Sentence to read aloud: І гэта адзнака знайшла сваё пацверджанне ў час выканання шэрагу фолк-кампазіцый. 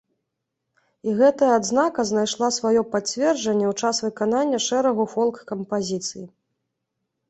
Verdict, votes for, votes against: accepted, 2, 0